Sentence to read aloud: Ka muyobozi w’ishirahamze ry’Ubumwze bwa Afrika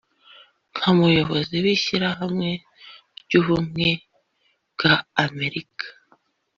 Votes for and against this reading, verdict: 0, 2, rejected